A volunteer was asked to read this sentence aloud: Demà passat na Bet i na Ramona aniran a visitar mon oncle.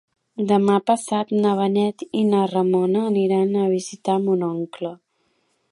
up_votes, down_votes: 1, 2